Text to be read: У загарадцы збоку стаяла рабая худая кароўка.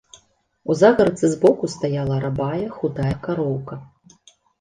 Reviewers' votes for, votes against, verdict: 2, 0, accepted